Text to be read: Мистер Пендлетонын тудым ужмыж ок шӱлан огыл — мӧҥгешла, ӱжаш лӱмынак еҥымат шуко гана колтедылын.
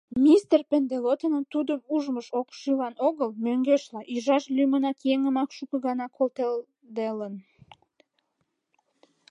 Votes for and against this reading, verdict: 1, 4, rejected